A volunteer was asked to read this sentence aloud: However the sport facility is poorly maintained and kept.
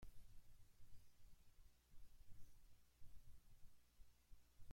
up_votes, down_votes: 0, 2